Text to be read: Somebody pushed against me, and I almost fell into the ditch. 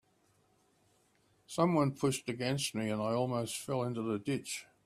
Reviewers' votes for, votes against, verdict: 3, 1, accepted